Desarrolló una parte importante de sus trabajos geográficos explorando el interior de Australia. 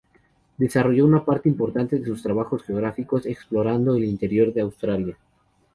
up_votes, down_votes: 0, 2